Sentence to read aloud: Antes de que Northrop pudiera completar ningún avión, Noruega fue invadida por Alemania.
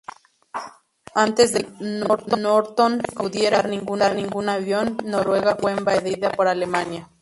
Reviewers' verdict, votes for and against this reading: rejected, 0, 2